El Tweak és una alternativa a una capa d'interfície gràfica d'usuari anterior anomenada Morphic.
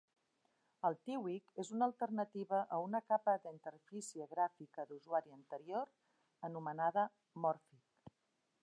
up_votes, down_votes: 0, 2